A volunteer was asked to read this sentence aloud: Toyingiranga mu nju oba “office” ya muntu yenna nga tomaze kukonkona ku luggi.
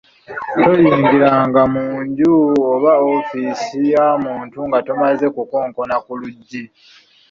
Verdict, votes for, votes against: rejected, 1, 2